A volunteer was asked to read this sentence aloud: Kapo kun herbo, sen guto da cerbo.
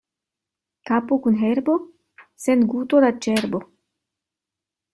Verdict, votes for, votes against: rejected, 1, 2